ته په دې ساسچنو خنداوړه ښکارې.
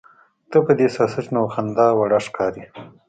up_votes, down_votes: 2, 0